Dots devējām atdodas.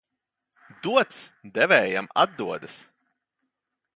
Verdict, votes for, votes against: accepted, 2, 0